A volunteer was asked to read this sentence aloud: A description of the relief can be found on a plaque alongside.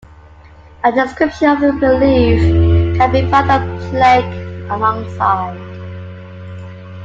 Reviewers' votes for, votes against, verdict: 2, 1, accepted